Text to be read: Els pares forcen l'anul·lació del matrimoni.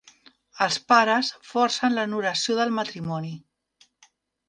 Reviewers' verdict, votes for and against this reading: accepted, 2, 0